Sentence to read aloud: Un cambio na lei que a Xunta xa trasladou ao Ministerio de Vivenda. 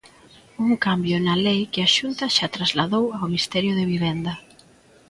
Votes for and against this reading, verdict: 0, 2, rejected